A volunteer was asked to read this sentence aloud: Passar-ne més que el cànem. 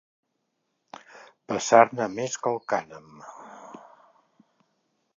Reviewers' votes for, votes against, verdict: 2, 0, accepted